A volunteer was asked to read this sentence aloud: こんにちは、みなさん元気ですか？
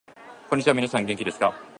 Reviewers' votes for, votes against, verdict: 2, 0, accepted